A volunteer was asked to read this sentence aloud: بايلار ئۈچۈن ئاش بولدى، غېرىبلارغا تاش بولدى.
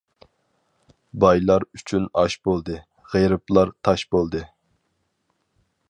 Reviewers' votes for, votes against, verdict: 2, 4, rejected